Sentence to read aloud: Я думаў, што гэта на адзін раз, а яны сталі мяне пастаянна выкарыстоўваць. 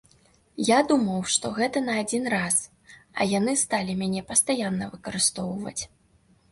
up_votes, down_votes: 2, 0